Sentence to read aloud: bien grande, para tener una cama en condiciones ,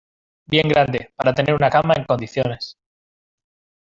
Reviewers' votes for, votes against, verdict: 2, 0, accepted